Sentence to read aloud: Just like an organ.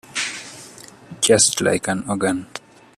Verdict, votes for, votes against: accepted, 3, 0